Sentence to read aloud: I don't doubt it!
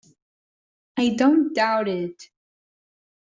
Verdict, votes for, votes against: rejected, 1, 2